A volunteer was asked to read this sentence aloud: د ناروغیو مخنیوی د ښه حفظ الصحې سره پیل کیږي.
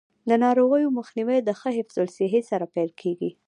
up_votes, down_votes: 1, 2